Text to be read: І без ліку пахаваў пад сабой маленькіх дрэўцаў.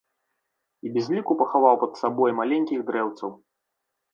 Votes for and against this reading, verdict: 2, 0, accepted